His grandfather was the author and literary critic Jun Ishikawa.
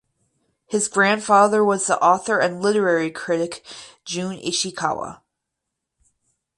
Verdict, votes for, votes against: accepted, 4, 0